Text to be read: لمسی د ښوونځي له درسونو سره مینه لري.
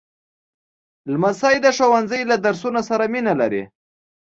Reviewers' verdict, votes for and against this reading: accepted, 2, 0